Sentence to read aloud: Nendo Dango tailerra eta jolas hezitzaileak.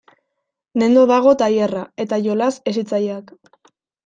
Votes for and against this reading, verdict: 1, 2, rejected